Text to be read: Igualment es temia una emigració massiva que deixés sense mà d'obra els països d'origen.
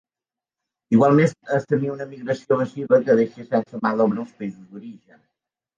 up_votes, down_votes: 1, 2